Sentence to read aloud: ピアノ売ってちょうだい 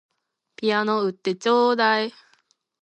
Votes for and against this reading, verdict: 3, 0, accepted